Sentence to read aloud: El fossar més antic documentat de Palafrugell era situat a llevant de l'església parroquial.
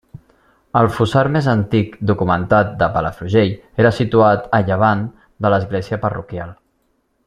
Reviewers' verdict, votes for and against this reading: accepted, 3, 0